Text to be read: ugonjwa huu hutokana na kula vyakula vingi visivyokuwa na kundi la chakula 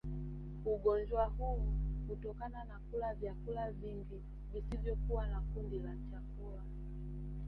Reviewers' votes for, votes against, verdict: 4, 1, accepted